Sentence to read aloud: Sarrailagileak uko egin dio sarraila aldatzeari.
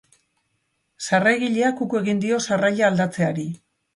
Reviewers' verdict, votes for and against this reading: accepted, 3, 0